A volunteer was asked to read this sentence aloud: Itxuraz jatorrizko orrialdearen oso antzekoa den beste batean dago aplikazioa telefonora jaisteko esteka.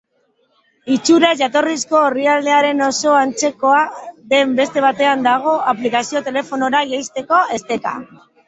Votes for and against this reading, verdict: 2, 1, accepted